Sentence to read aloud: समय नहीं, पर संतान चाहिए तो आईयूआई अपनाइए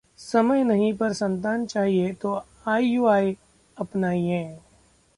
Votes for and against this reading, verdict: 0, 2, rejected